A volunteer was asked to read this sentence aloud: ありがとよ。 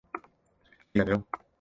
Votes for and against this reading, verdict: 0, 2, rejected